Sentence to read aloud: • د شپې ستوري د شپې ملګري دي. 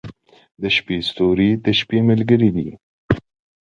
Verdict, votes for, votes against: accepted, 2, 0